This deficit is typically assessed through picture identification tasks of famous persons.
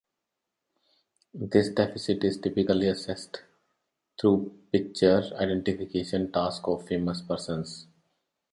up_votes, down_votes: 3, 2